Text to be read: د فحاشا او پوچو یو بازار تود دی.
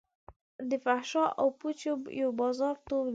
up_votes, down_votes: 1, 2